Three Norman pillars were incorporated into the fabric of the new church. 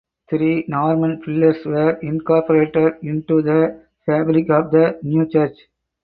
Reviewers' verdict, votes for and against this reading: accepted, 4, 2